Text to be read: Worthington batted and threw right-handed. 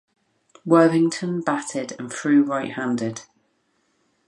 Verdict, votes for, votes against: accepted, 2, 0